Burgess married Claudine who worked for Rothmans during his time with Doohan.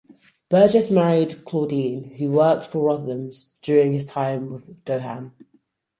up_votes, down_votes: 4, 2